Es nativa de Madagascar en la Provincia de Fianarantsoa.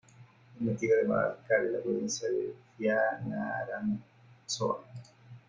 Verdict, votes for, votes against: rejected, 0, 2